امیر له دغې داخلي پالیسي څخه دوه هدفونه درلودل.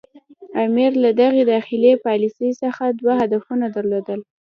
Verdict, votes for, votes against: accepted, 2, 0